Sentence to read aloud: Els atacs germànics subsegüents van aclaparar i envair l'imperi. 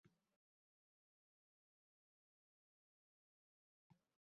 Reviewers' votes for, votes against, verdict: 0, 2, rejected